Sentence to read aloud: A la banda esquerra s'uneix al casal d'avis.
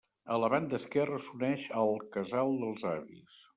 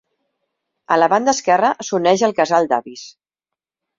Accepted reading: second